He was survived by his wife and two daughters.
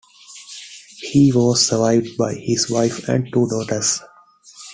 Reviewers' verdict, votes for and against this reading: accepted, 2, 0